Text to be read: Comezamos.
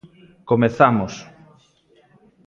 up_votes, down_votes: 2, 0